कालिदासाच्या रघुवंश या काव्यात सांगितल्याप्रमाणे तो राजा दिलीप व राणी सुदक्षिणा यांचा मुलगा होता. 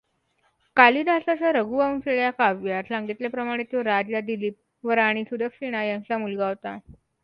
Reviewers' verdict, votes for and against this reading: accepted, 2, 0